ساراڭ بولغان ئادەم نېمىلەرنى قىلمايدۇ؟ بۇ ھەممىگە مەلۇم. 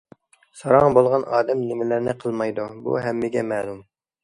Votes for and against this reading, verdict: 2, 0, accepted